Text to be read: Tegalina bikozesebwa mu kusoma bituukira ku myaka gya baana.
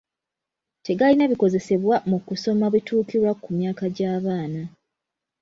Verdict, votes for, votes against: accepted, 2, 0